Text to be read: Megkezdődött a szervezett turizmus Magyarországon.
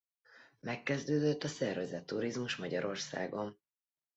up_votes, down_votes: 2, 0